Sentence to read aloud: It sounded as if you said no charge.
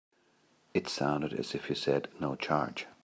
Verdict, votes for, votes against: accepted, 3, 0